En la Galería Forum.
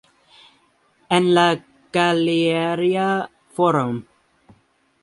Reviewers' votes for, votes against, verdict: 2, 0, accepted